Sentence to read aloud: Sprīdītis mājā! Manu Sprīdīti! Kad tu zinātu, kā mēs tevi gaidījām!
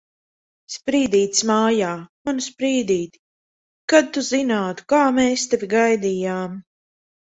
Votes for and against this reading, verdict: 2, 0, accepted